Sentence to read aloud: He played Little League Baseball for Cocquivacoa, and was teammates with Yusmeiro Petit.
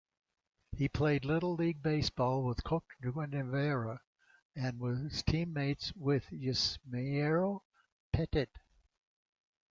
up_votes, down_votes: 1, 2